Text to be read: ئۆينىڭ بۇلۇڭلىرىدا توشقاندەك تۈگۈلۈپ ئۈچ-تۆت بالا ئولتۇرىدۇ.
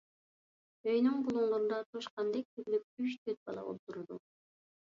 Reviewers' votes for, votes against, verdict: 2, 0, accepted